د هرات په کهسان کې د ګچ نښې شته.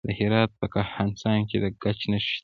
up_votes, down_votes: 1, 2